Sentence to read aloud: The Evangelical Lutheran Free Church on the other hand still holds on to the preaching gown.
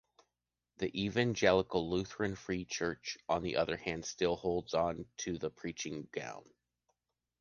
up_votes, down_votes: 2, 1